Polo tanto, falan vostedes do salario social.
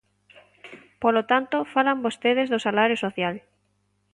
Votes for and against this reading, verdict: 2, 0, accepted